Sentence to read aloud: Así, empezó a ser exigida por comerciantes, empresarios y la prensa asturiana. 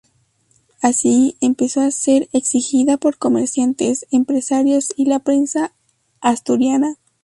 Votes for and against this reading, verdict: 0, 2, rejected